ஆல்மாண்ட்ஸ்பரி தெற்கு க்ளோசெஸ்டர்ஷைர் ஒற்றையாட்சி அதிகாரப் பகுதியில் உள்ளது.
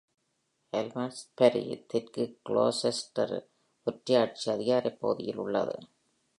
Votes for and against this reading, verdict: 1, 2, rejected